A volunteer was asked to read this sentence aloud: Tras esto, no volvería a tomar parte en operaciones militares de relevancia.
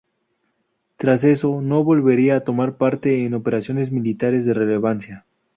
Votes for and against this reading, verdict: 0, 4, rejected